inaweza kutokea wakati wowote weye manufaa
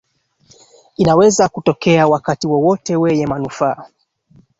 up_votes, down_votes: 2, 1